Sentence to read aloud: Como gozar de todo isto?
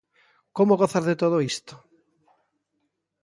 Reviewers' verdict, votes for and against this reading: accepted, 2, 0